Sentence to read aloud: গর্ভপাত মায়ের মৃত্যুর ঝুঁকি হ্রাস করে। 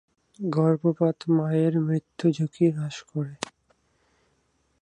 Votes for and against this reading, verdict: 0, 4, rejected